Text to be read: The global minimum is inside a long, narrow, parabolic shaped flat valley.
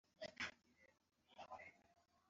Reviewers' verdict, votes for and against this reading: rejected, 0, 2